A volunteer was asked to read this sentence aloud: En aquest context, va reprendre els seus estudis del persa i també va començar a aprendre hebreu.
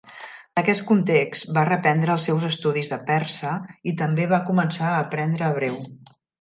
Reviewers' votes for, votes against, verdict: 1, 2, rejected